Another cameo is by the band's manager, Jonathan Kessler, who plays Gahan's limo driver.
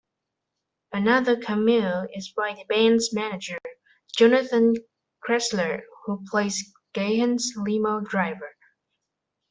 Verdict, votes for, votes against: rejected, 0, 2